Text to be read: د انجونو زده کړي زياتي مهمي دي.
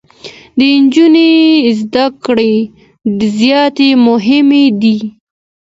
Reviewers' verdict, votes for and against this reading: rejected, 1, 2